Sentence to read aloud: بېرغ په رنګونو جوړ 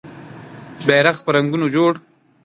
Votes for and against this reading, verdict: 2, 0, accepted